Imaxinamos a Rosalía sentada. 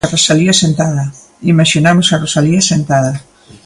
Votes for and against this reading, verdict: 0, 2, rejected